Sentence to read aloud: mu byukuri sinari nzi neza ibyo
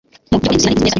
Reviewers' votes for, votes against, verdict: 1, 2, rejected